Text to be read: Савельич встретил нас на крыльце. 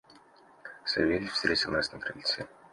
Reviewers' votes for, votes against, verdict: 2, 0, accepted